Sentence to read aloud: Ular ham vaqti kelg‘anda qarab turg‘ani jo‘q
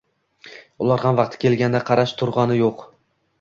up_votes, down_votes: 0, 2